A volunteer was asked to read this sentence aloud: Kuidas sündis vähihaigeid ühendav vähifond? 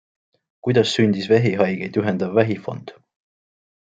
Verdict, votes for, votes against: accepted, 2, 0